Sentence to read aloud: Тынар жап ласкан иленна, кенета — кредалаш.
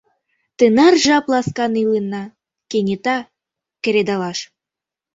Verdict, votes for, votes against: rejected, 0, 2